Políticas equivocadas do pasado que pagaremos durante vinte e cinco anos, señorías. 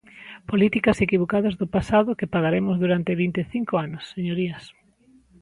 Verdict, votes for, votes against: accepted, 4, 0